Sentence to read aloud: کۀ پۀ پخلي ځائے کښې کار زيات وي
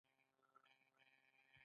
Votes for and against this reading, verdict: 1, 2, rejected